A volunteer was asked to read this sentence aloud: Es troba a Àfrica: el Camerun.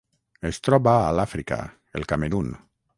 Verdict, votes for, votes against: rejected, 3, 6